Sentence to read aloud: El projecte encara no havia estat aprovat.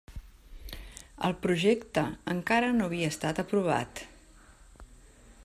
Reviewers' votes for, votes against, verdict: 3, 0, accepted